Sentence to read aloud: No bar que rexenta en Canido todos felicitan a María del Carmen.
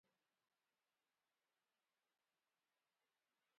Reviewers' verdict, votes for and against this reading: rejected, 0, 2